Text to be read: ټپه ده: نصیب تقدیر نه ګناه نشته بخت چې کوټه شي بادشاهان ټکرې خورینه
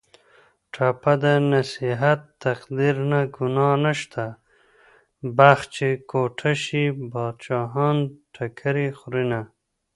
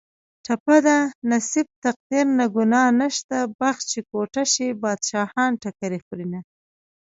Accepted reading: second